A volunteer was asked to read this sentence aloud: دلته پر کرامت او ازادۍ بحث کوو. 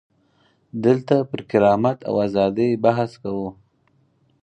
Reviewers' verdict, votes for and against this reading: accepted, 4, 0